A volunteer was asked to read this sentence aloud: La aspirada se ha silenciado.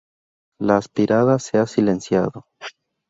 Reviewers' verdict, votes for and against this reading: rejected, 0, 2